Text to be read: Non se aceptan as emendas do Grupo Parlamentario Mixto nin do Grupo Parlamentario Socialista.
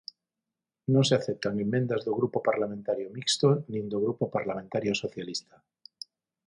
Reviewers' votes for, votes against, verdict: 0, 6, rejected